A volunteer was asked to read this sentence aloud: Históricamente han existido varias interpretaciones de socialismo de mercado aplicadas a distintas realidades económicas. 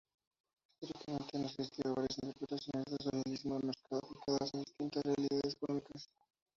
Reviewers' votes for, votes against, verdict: 0, 2, rejected